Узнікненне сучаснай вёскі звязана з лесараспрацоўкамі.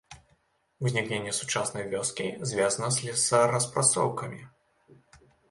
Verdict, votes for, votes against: accepted, 2, 0